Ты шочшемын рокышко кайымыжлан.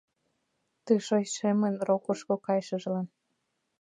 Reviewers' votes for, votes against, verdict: 0, 2, rejected